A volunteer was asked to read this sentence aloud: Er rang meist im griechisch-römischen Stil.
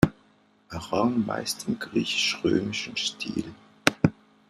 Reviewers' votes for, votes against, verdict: 2, 0, accepted